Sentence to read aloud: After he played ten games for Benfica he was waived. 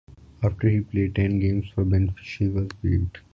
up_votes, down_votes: 0, 2